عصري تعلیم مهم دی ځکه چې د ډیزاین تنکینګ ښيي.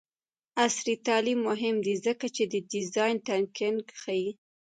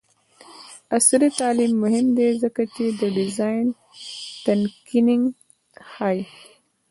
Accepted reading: first